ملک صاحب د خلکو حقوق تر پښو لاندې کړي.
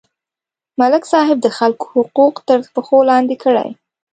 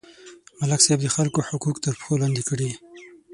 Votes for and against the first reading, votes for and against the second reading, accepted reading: 0, 2, 6, 0, second